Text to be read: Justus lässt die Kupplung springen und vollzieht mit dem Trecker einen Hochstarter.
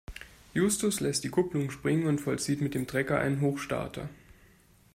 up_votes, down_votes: 2, 0